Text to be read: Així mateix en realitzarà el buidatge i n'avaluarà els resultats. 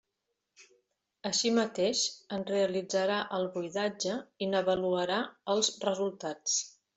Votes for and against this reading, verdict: 2, 0, accepted